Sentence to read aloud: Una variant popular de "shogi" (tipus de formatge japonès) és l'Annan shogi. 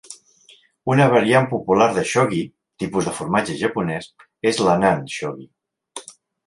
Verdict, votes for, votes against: accepted, 2, 0